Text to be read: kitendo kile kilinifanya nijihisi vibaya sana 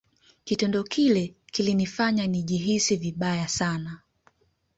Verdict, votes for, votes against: accepted, 2, 0